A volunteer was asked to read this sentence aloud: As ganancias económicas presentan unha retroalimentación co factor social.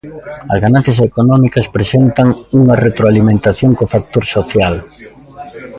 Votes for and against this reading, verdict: 2, 0, accepted